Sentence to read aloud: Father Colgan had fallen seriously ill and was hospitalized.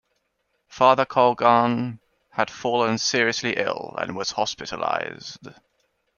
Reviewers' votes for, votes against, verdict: 2, 0, accepted